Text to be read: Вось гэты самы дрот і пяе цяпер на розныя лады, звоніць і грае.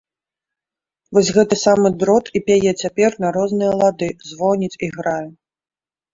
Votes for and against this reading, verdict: 3, 0, accepted